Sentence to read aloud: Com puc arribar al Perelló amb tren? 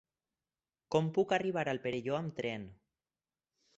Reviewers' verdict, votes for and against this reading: accepted, 4, 0